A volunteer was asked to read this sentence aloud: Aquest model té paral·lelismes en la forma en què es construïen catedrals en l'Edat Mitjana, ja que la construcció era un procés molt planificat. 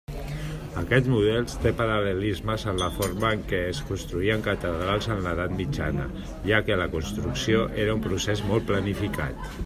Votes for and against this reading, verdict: 1, 2, rejected